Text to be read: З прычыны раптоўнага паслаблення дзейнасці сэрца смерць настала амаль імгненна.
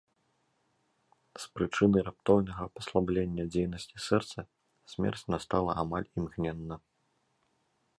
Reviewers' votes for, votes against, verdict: 2, 0, accepted